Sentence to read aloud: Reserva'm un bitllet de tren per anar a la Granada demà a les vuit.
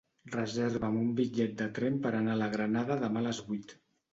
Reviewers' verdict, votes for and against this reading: accepted, 2, 0